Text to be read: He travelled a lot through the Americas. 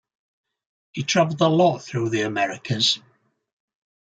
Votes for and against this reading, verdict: 3, 0, accepted